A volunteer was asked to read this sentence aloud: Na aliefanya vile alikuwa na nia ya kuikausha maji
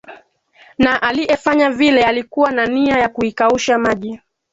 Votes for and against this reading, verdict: 2, 1, accepted